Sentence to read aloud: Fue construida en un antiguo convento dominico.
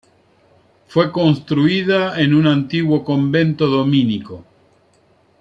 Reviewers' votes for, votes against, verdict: 1, 2, rejected